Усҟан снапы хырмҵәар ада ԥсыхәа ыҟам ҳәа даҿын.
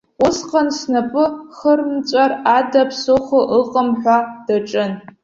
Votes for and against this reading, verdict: 2, 0, accepted